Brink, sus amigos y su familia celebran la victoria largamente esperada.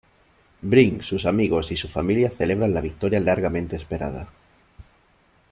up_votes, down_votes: 2, 0